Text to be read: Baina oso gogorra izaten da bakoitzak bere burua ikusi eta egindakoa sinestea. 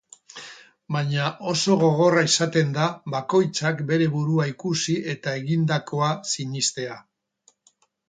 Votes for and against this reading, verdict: 2, 2, rejected